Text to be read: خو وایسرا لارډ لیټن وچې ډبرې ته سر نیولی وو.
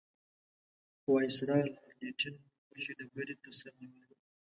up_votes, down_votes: 1, 2